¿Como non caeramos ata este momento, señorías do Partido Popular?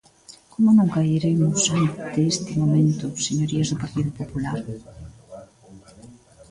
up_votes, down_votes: 0, 2